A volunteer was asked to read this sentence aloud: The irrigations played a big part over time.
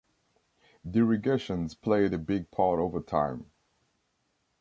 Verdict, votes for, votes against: accepted, 2, 0